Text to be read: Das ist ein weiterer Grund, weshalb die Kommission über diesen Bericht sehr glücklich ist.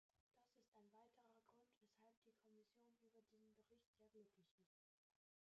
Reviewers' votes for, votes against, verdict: 0, 2, rejected